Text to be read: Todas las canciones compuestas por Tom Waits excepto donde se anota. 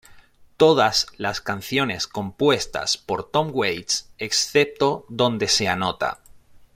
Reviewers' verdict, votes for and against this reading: accepted, 2, 0